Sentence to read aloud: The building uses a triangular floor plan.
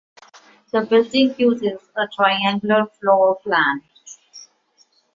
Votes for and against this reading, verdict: 2, 0, accepted